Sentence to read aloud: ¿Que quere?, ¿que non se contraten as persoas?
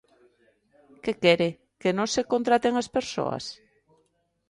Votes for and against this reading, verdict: 2, 0, accepted